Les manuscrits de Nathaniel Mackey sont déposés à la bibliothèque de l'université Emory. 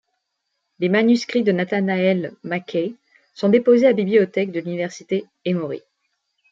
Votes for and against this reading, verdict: 1, 2, rejected